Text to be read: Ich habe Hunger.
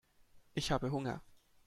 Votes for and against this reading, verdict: 2, 0, accepted